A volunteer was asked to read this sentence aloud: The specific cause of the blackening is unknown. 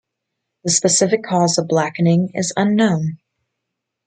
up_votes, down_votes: 1, 2